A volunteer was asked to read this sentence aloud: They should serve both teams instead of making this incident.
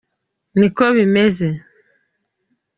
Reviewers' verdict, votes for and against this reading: rejected, 0, 2